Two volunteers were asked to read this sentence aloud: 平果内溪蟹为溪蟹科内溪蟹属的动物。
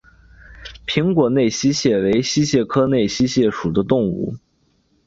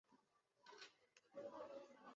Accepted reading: first